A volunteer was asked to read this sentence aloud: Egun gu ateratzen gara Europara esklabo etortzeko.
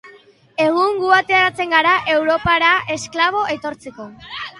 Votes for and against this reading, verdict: 4, 0, accepted